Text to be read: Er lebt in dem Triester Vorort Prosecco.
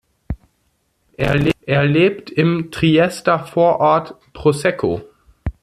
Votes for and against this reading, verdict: 0, 2, rejected